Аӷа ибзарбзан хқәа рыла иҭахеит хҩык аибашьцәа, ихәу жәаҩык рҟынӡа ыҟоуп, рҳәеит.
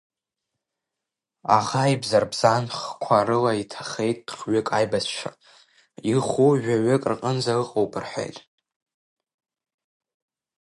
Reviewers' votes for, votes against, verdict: 1, 2, rejected